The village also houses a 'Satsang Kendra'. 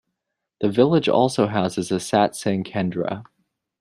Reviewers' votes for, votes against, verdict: 2, 0, accepted